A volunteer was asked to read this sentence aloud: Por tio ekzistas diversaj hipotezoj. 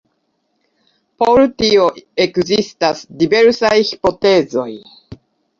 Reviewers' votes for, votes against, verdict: 2, 0, accepted